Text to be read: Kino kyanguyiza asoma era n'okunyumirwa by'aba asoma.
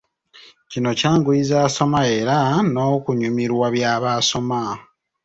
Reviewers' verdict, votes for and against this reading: accepted, 2, 0